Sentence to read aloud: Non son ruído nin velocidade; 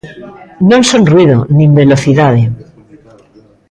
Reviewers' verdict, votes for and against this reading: rejected, 0, 2